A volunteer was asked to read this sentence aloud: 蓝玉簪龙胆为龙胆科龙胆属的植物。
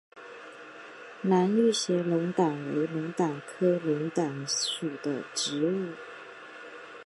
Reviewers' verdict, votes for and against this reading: rejected, 1, 3